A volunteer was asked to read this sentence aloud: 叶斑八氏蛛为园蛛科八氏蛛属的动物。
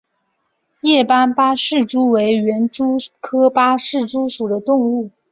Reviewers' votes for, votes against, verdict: 2, 0, accepted